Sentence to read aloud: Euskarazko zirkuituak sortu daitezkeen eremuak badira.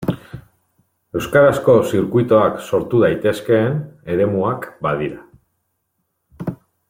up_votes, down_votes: 0, 2